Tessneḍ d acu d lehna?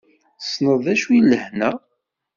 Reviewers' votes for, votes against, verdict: 2, 1, accepted